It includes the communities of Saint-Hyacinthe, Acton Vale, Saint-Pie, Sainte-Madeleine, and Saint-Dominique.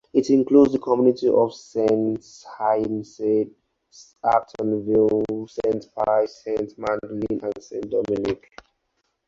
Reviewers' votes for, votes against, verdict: 2, 4, rejected